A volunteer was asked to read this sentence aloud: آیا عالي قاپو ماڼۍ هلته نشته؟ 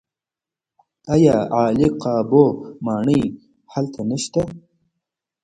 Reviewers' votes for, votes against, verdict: 0, 2, rejected